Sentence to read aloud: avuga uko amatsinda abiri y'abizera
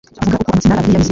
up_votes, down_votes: 2, 3